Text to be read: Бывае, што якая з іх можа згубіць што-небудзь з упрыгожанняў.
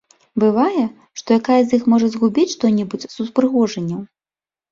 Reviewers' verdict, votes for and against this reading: accepted, 2, 0